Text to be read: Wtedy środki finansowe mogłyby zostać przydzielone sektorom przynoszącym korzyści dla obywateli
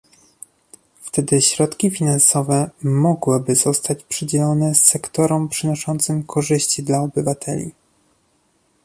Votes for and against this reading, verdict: 2, 0, accepted